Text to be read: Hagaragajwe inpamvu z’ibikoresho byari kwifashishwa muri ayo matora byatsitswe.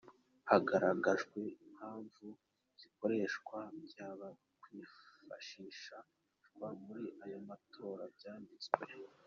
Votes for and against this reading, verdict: 0, 2, rejected